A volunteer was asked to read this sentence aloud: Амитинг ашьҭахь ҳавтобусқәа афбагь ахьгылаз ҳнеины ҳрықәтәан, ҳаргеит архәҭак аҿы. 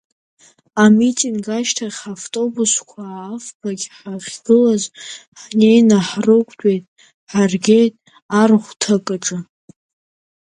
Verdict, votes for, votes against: rejected, 1, 2